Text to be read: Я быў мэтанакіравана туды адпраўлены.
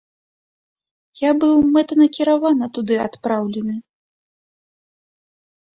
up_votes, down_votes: 2, 0